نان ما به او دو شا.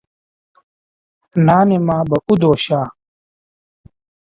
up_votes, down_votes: 0, 2